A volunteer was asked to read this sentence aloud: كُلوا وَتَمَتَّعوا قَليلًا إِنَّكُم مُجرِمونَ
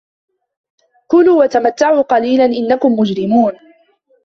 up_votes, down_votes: 1, 2